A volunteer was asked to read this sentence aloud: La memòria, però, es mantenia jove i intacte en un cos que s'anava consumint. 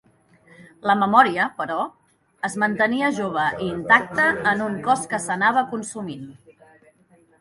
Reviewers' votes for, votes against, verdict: 2, 0, accepted